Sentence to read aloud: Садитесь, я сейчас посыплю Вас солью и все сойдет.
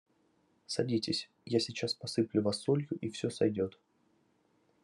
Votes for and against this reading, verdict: 2, 0, accepted